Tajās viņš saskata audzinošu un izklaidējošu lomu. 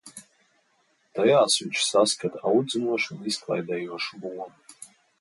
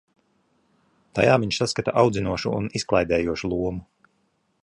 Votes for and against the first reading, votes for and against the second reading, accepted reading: 2, 0, 0, 2, first